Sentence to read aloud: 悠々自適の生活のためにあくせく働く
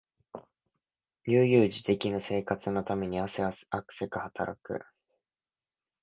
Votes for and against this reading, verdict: 0, 2, rejected